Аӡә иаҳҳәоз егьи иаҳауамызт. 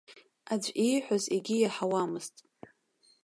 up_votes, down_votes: 1, 2